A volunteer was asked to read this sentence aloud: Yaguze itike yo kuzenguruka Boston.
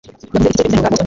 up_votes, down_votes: 1, 2